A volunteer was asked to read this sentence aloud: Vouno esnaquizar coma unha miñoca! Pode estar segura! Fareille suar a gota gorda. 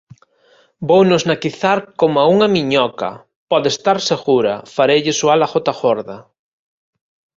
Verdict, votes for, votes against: rejected, 1, 2